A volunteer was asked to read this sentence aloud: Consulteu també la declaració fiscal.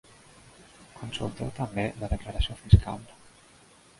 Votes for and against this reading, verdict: 1, 2, rejected